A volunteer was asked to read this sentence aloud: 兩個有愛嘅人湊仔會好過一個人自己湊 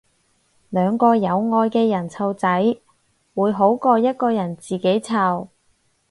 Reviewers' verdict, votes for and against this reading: accepted, 4, 0